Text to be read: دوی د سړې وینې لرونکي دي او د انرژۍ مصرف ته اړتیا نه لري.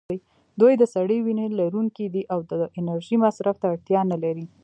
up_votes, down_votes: 2, 1